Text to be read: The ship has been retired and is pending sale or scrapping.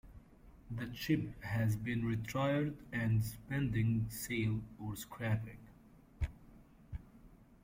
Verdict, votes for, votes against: accepted, 2, 1